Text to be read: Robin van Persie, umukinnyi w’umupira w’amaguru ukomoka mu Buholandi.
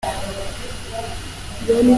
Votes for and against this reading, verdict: 0, 2, rejected